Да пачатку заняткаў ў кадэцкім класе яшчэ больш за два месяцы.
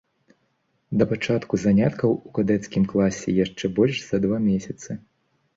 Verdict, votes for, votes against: accepted, 2, 0